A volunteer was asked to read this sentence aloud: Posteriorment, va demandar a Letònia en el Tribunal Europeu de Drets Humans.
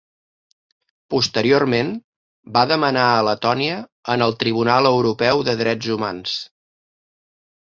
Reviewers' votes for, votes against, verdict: 1, 2, rejected